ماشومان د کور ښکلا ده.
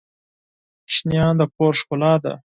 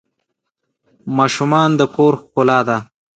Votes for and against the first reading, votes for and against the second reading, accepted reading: 2, 4, 2, 0, second